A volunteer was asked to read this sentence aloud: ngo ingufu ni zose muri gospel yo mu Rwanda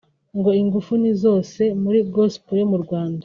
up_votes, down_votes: 2, 0